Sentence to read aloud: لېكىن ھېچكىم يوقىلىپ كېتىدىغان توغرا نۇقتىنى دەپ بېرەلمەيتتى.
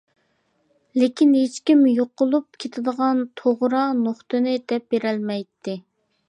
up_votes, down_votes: 2, 0